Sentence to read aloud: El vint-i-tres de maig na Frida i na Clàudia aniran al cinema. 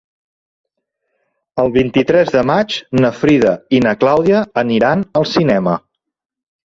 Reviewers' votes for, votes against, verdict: 3, 0, accepted